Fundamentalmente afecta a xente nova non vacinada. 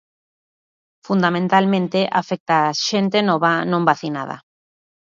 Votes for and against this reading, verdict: 2, 0, accepted